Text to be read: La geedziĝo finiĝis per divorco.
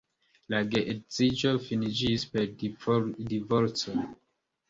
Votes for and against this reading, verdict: 1, 2, rejected